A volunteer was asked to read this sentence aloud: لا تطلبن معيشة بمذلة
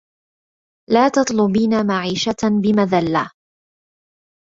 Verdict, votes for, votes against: rejected, 0, 2